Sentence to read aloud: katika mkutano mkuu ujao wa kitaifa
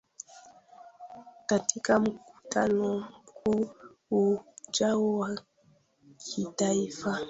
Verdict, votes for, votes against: rejected, 1, 2